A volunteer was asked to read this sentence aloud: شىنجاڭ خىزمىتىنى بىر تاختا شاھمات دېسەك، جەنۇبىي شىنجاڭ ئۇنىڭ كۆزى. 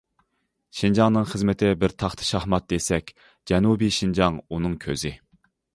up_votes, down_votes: 0, 2